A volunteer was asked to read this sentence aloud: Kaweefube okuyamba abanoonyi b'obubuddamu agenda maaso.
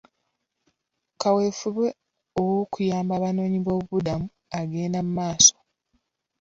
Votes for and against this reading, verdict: 0, 2, rejected